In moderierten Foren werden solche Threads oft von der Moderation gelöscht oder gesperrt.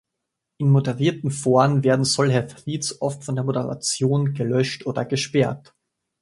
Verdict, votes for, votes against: rejected, 0, 2